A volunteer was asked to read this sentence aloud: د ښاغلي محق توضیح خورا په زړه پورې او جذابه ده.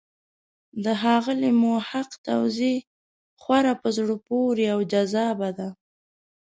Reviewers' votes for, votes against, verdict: 0, 2, rejected